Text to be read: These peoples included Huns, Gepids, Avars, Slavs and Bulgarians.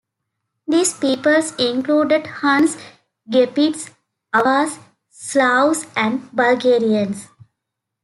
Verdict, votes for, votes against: accepted, 2, 1